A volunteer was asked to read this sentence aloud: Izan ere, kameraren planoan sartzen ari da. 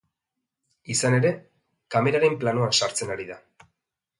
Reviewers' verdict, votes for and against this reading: accepted, 2, 0